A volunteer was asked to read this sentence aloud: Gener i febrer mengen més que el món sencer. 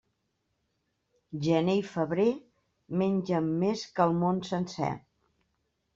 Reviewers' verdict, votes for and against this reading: accepted, 2, 1